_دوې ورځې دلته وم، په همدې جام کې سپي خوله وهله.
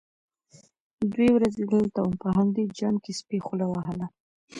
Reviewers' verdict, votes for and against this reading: accepted, 2, 1